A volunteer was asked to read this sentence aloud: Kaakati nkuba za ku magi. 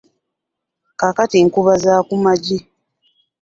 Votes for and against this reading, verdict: 2, 0, accepted